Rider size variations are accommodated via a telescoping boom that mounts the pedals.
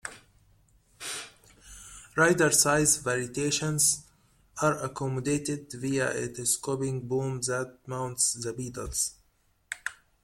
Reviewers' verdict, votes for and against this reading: rejected, 0, 2